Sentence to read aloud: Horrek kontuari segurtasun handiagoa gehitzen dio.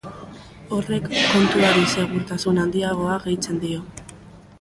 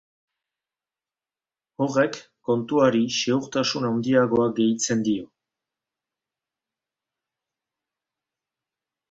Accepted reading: second